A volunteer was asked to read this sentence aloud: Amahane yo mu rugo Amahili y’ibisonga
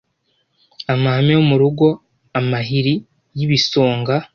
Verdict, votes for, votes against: rejected, 1, 2